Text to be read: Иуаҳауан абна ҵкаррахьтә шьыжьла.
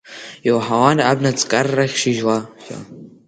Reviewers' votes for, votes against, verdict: 2, 0, accepted